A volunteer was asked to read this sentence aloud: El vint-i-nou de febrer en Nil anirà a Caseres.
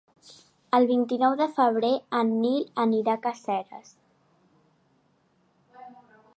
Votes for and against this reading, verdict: 1, 2, rejected